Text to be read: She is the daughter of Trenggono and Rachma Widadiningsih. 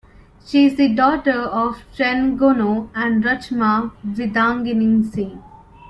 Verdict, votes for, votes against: accepted, 2, 0